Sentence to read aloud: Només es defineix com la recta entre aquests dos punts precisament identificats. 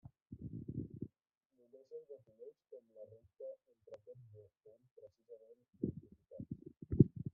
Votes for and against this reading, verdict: 0, 2, rejected